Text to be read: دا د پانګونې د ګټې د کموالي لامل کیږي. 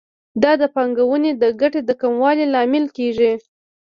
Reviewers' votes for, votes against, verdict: 2, 0, accepted